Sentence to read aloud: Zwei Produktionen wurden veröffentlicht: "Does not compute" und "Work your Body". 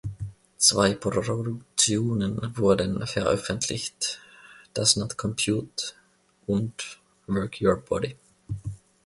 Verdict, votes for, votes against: accepted, 2, 1